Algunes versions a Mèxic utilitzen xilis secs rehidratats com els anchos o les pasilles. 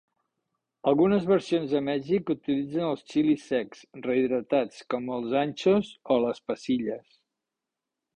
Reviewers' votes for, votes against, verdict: 2, 3, rejected